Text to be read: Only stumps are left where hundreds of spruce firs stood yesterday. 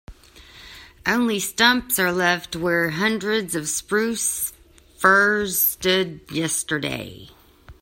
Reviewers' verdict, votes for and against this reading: accepted, 2, 0